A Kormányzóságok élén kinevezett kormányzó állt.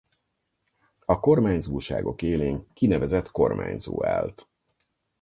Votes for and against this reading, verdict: 4, 0, accepted